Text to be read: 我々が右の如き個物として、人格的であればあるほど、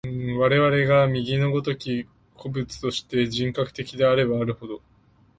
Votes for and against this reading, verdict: 2, 1, accepted